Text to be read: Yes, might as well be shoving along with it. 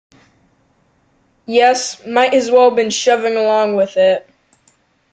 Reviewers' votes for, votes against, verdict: 0, 2, rejected